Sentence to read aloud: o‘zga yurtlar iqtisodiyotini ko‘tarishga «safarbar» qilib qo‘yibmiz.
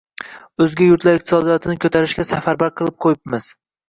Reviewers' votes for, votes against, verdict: 1, 2, rejected